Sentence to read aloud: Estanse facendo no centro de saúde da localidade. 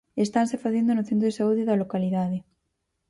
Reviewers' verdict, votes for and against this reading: accepted, 4, 0